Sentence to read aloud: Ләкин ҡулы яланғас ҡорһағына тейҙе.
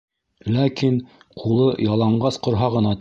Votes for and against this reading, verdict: 0, 2, rejected